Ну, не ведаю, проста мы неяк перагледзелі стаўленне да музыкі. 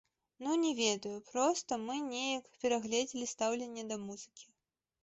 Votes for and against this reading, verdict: 2, 1, accepted